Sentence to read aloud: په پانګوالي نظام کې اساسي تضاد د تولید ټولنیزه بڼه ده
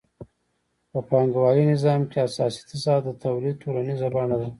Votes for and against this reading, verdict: 2, 0, accepted